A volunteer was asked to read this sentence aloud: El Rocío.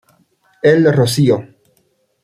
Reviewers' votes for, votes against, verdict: 1, 2, rejected